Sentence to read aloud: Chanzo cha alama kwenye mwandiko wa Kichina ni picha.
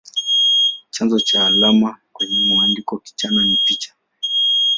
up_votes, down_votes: 2, 3